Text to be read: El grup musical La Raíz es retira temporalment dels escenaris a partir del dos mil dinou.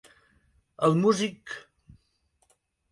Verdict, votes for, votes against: rejected, 0, 2